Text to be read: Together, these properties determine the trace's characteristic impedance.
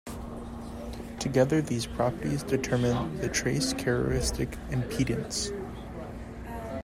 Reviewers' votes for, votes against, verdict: 1, 2, rejected